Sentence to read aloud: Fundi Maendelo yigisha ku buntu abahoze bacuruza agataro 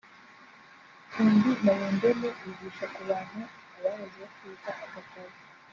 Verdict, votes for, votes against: rejected, 1, 2